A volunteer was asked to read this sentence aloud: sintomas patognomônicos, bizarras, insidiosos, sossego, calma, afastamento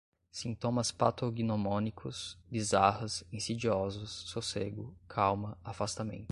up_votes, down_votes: 2, 0